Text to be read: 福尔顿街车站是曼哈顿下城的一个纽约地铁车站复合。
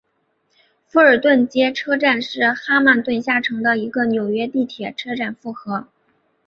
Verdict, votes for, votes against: accepted, 2, 0